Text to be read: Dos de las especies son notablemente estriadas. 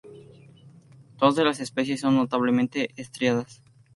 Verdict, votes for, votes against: accepted, 2, 0